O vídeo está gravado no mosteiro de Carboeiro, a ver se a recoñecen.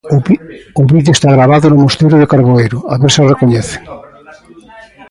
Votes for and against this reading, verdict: 0, 2, rejected